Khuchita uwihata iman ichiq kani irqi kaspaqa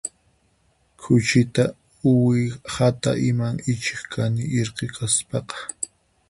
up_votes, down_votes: 4, 2